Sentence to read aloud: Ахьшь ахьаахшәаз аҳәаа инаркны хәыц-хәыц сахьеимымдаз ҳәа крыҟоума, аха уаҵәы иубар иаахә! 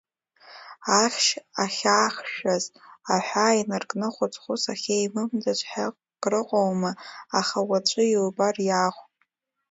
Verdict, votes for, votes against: rejected, 1, 2